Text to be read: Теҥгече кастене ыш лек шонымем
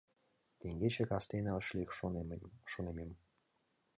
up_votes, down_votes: 1, 2